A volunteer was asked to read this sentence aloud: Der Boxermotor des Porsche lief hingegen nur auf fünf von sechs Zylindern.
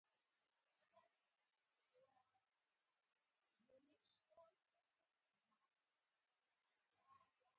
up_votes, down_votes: 0, 4